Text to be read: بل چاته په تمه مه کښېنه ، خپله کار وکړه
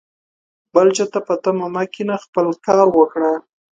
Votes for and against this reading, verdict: 2, 1, accepted